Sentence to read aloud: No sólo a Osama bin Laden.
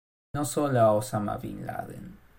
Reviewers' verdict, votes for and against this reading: rejected, 1, 2